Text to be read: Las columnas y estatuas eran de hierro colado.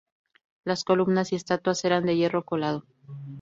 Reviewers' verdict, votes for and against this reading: accepted, 2, 0